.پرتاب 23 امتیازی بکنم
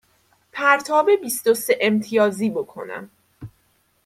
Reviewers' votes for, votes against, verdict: 0, 2, rejected